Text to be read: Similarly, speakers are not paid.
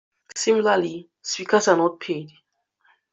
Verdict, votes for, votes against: accepted, 2, 1